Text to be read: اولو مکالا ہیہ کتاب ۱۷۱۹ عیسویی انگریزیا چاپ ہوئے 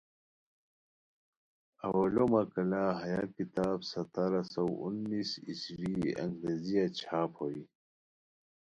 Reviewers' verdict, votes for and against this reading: rejected, 0, 2